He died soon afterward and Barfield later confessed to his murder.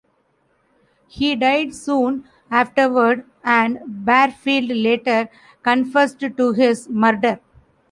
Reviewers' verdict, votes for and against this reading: rejected, 0, 2